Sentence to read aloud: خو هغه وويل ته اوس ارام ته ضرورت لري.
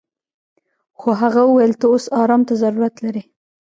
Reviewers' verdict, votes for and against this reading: rejected, 1, 2